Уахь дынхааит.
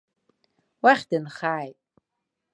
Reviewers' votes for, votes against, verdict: 2, 0, accepted